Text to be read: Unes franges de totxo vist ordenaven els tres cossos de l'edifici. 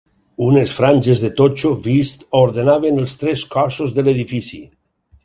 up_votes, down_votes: 4, 0